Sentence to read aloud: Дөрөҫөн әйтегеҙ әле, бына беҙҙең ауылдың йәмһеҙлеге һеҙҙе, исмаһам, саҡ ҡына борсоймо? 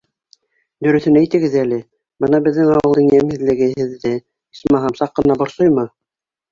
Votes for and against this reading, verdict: 3, 0, accepted